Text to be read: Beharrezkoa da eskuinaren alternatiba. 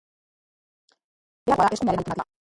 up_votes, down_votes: 0, 2